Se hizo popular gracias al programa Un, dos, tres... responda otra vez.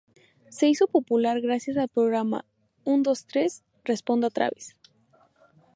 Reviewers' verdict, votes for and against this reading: accepted, 2, 0